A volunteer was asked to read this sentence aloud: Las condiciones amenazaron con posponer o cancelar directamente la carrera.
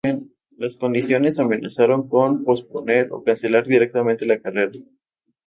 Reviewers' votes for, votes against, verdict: 2, 0, accepted